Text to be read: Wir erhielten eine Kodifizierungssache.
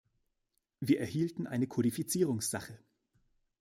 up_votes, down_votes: 2, 0